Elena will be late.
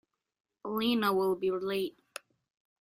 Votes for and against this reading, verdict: 1, 2, rejected